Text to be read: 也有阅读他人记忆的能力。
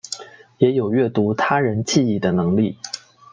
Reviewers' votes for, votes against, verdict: 2, 0, accepted